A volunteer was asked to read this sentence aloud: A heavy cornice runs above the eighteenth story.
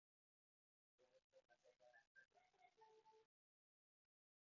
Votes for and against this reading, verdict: 0, 2, rejected